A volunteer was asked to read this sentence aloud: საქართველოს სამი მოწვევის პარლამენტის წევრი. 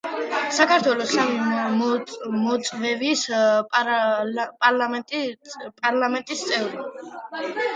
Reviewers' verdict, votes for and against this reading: rejected, 0, 2